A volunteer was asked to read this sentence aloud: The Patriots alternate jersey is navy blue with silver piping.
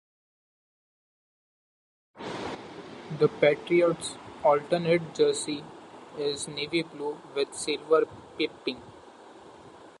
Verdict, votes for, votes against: rejected, 0, 2